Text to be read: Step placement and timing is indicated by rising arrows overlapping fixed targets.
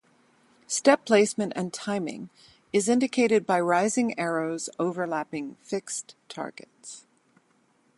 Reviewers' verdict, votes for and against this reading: rejected, 0, 4